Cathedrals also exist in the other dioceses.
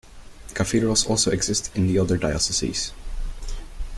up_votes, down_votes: 2, 0